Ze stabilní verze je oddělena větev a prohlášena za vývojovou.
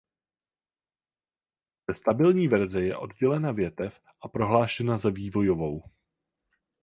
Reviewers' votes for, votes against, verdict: 0, 4, rejected